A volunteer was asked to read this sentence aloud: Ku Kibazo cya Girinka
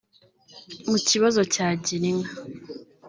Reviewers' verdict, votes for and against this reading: rejected, 0, 2